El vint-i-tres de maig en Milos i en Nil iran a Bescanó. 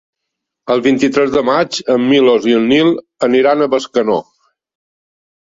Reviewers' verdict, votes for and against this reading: rejected, 1, 4